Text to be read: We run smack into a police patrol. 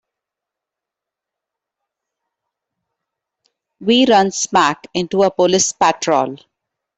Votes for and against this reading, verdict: 2, 0, accepted